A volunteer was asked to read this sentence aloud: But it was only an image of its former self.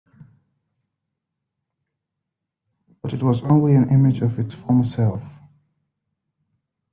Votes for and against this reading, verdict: 2, 0, accepted